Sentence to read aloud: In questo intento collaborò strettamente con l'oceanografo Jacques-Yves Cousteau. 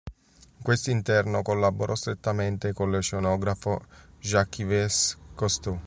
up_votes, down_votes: 0, 2